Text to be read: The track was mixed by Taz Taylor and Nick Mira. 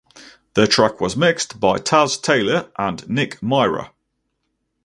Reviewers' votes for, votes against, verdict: 2, 2, rejected